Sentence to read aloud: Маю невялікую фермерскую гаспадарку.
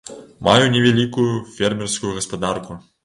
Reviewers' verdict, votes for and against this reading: accepted, 2, 0